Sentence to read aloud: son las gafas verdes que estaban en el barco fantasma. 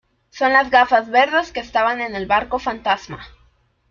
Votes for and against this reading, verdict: 2, 0, accepted